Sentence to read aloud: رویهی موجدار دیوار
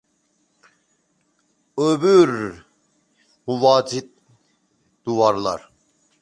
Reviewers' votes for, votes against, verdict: 0, 2, rejected